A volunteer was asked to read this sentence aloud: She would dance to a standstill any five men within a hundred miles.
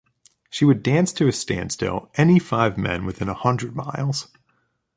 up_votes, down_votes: 2, 0